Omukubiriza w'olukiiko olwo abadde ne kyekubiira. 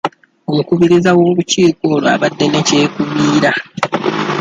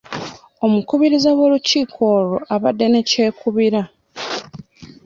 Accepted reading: first